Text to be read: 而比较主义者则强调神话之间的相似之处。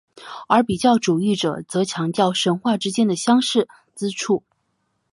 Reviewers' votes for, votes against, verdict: 3, 0, accepted